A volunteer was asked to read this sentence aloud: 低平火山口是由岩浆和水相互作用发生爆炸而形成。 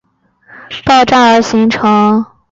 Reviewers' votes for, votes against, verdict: 1, 3, rejected